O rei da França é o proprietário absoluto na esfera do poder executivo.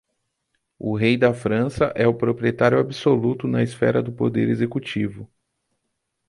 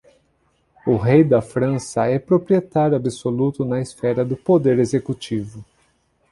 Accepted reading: first